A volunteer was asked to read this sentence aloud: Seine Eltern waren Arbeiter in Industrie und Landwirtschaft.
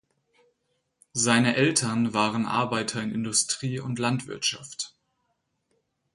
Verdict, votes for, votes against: accepted, 4, 0